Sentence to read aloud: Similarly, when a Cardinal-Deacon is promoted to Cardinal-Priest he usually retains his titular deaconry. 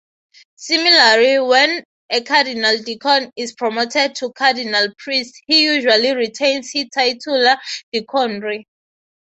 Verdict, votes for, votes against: accepted, 3, 0